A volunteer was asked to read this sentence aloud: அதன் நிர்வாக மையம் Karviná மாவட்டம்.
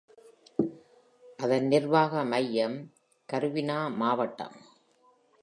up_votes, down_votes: 2, 0